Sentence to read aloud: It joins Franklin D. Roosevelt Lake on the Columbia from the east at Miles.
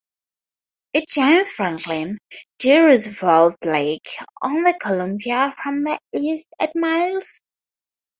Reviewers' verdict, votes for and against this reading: accepted, 2, 0